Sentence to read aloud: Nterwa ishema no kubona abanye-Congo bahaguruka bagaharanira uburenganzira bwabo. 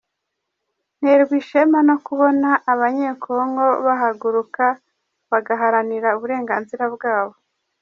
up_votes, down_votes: 2, 0